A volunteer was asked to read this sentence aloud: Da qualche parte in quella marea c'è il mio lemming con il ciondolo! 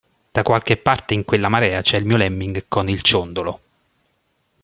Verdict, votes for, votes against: accepted, 2, 0